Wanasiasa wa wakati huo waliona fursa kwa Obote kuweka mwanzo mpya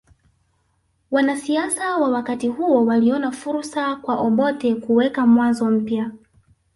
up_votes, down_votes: 3, 2